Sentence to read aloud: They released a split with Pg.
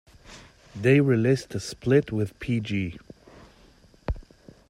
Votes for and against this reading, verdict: 2, 0, accepted